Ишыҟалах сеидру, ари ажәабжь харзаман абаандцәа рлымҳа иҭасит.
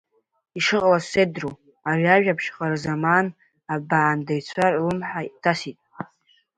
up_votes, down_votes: 1, 2